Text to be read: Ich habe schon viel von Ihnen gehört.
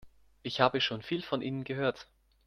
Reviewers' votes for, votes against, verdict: 2, 0, accepted